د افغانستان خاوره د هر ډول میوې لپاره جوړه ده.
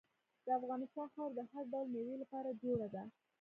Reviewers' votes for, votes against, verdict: 2, 0, accepted